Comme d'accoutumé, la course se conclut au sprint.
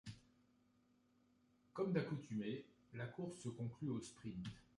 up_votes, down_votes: 2, 0